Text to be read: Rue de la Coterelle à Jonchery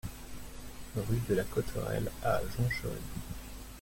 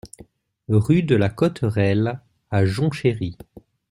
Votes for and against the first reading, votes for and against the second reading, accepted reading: 1, 2, 2, 0, second